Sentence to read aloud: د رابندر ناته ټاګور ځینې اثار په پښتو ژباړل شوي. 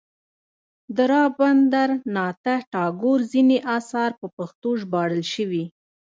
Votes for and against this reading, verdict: 2, 0, accepted